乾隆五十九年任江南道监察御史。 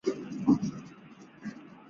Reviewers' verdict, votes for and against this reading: rejected, 1, 2